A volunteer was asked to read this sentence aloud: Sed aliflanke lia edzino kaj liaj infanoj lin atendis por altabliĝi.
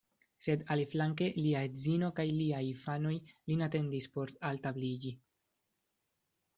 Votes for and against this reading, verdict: 2, 0, accepted